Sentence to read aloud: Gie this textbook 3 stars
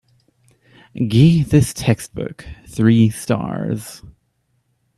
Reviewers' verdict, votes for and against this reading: rejected, 0, 2